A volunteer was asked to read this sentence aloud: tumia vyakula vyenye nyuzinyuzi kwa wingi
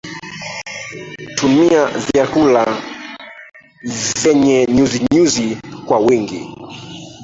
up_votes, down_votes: 0, 2